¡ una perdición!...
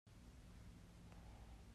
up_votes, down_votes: 0, 2